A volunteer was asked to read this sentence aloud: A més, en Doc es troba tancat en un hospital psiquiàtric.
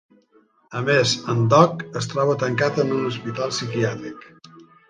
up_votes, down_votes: 2, 1